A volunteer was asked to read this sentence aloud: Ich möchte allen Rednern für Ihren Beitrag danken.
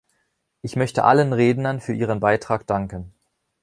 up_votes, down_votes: 2, 0